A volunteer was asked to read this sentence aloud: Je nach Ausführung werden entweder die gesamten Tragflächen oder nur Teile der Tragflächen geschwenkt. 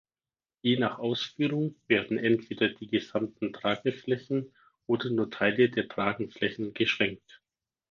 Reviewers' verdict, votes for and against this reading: rejected, 0, 4